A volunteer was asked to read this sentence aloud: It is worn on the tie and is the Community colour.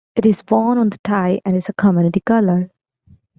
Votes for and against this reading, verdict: 1, 2, rejected